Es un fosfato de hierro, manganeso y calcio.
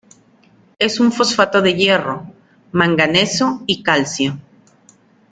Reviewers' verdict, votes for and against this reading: accepted, 2, 0